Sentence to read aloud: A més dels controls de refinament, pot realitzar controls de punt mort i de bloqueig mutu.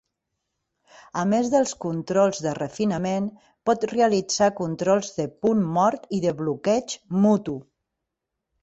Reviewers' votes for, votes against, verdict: 3, 0, accepted